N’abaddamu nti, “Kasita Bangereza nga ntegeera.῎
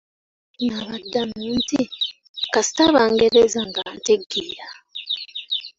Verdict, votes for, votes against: accepted, 2, 1